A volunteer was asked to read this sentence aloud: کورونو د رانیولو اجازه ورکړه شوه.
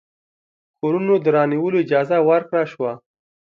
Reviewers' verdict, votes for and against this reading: accepted, 2, 0